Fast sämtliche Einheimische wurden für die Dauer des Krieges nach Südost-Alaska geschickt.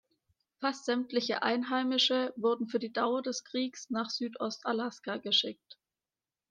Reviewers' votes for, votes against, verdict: 2, 0, accepted